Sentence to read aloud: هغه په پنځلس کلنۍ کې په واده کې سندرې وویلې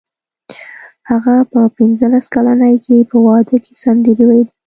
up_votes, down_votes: 2, 0